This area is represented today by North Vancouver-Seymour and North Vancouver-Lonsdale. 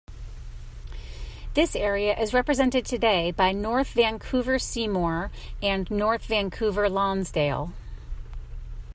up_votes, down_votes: 2, 0